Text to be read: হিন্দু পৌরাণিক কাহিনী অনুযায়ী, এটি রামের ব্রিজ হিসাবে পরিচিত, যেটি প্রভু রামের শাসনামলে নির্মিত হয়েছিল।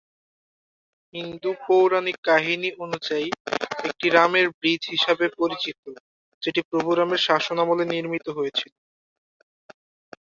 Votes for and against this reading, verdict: 1, 2, rejected